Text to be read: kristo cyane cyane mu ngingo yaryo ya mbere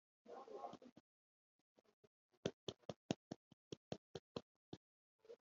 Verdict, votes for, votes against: rejected, 0, 2